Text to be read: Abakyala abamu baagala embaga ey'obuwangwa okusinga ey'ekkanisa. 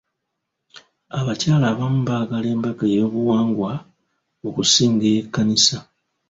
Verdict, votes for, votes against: rejected, 1, 2